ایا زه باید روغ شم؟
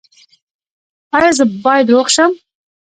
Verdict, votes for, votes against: accepted, 2, 0